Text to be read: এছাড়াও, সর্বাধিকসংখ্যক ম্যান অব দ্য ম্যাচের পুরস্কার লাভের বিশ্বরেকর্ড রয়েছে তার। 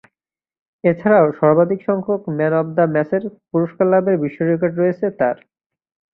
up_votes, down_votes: 3, 0